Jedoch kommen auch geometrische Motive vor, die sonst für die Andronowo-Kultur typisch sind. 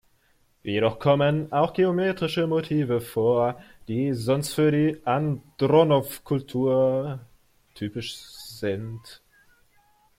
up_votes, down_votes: 0, 2